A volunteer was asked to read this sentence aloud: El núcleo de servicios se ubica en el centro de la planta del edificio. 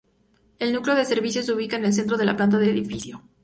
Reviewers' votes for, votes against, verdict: 2, 0, accepted